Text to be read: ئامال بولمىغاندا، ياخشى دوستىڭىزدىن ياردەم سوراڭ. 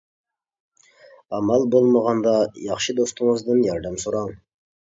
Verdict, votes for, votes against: accepted, 2, 0